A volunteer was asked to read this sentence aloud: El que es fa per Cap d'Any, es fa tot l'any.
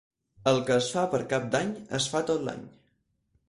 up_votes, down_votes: 4, 0